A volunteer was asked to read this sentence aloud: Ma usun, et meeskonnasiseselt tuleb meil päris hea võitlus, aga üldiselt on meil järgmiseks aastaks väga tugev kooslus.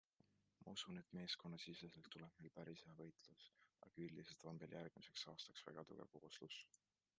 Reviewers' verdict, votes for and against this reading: accepted, 2, 1